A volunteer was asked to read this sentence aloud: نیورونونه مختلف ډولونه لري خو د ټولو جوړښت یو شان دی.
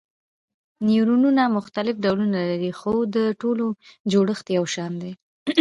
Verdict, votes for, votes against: accepted, 2, 0